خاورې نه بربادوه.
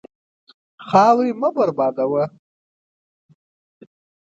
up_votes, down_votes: 1, 2